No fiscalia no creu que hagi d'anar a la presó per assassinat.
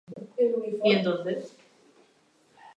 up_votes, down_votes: 0, 2